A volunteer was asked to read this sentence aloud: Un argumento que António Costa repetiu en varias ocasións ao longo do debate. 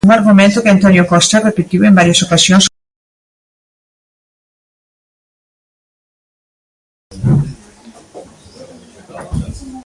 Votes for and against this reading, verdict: 0, 2, rejected